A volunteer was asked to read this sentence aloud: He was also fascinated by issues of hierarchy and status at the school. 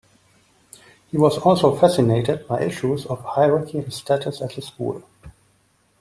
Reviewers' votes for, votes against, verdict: 2, 0, accepted